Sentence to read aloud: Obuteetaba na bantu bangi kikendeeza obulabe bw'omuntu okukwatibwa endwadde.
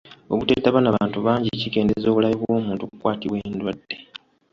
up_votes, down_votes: 2, 0